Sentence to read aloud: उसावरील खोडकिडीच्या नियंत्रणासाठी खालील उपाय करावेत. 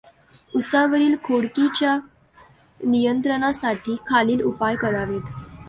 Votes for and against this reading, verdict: 2, 0, accepted